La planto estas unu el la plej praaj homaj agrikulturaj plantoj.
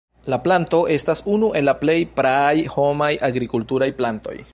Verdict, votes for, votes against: rejected, 1, 2